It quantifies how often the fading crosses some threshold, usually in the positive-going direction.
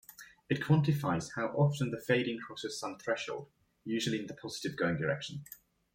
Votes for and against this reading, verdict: 1, 2, rejected